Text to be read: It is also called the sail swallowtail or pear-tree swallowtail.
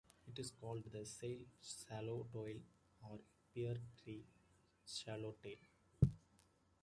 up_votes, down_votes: 2, 0